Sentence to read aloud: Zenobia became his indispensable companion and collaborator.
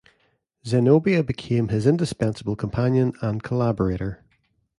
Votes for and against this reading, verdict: 2, 0, accepted